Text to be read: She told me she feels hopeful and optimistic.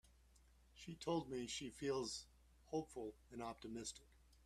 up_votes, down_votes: 0, 2